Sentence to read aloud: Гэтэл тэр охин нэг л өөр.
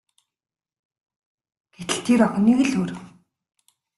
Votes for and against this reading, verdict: 2, 0, accepted